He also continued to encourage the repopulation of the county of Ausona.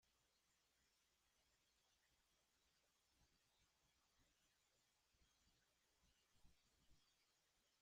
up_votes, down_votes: 0, 2